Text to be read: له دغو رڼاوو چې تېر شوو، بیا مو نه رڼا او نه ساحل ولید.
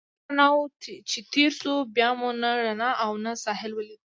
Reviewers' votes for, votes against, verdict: 0, 2, rejected